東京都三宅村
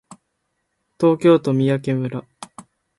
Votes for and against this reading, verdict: 2, 0, accepted